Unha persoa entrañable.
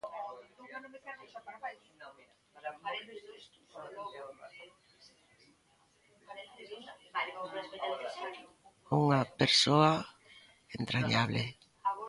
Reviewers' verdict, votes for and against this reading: rejected, 1, 2